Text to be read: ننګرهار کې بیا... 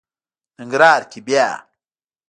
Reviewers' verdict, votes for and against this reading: accepted, 2, 1